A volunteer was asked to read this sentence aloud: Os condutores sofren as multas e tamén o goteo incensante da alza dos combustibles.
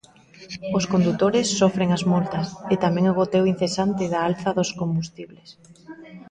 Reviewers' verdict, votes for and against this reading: rejected, 1, 2